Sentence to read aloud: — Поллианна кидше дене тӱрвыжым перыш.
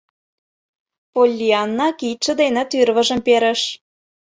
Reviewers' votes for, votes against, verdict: 2, 0, accepted